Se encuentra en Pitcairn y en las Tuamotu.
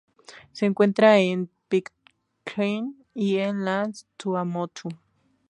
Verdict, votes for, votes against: rejected, 0, 2